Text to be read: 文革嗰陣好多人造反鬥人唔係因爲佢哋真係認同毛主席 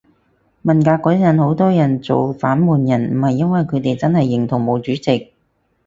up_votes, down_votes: 2, 2